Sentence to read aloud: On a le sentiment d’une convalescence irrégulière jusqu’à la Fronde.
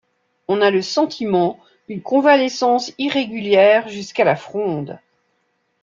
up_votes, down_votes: 2, 1